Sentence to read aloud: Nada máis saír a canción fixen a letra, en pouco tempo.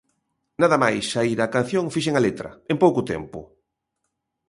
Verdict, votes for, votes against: accepted, 2, 0